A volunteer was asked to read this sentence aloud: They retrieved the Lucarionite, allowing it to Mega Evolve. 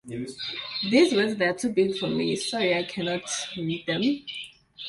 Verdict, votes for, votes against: rejected, 0, 2